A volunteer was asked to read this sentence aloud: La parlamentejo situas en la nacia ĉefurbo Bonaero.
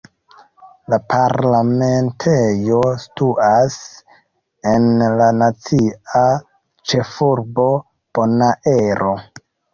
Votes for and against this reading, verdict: 0, 2, rejected